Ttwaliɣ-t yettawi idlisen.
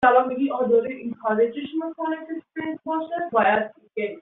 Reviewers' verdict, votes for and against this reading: rejected, 0, 2